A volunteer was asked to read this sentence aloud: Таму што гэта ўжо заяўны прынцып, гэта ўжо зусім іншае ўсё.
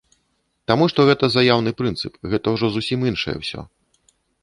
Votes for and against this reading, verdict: 0, 2, rejected